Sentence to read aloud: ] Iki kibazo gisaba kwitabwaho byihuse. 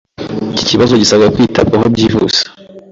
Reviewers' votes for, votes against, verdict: 2, 0, accepted